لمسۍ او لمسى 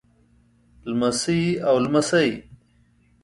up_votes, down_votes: 2, 0